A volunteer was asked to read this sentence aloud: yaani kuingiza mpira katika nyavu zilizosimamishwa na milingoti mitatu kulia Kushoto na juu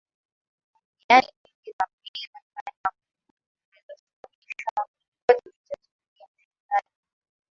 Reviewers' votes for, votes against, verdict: 0, 3, rejected